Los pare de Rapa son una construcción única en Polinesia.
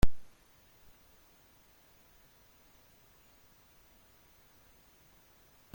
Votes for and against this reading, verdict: 0, 2, rejected